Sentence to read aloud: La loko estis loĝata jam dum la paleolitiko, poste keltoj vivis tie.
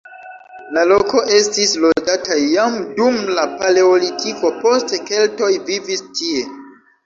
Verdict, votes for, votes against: accepted, 2, 1